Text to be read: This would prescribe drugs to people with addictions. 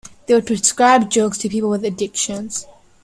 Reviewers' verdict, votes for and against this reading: rejected, 0, 2